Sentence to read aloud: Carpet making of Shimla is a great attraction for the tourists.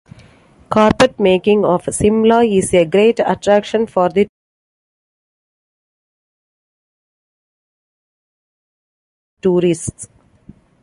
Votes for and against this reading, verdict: 0, 2, rejected